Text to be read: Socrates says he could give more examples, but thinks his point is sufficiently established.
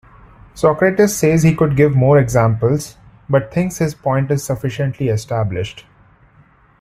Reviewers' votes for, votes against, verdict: 2, 1, accepted